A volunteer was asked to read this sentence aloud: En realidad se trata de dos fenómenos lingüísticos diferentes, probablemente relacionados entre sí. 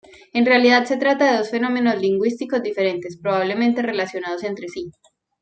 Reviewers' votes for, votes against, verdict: 2, 0, accepted